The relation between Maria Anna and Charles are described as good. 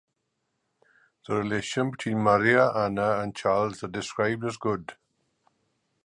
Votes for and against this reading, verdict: 2, 1, accepted